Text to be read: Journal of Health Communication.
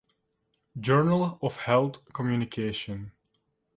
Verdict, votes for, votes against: accepted, 2, 1